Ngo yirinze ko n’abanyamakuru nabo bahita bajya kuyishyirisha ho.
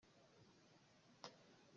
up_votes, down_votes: 0, 2